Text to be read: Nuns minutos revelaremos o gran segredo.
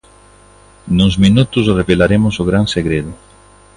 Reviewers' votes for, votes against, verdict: 2, 0, accepted